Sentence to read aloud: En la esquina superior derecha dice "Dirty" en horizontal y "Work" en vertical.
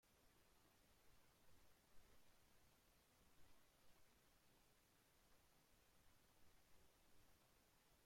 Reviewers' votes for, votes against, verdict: 0, 2, rejected